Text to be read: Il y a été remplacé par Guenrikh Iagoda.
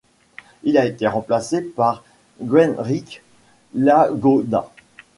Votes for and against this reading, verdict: 1, 2, rejected